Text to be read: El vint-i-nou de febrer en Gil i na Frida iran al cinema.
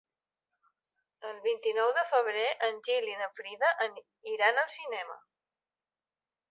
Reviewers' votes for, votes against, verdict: 1, 2, rejected